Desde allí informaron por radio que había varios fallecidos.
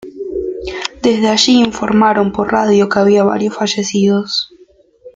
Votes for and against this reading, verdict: 1, 2, rejected